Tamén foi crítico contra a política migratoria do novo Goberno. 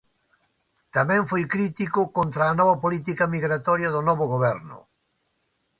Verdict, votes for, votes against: rejected, 0, 2